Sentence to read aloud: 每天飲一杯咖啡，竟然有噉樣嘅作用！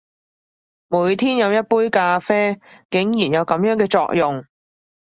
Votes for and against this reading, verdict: 2, 0, accepted